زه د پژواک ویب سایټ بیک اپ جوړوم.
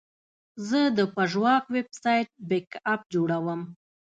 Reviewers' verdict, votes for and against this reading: accepted, 2, 0